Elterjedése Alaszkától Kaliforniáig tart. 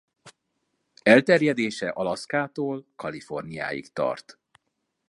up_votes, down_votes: 2, 0